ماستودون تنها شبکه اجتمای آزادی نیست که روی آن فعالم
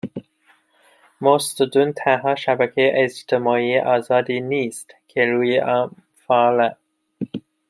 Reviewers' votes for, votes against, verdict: 1, 2, rejected